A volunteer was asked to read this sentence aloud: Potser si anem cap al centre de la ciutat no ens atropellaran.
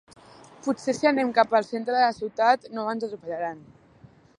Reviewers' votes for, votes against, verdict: 1, 2, rejected